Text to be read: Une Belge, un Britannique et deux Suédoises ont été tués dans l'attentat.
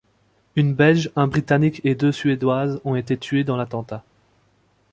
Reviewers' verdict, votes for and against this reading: accepted, 2, 1